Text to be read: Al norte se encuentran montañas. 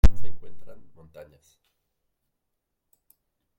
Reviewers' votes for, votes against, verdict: 0, 2, rejected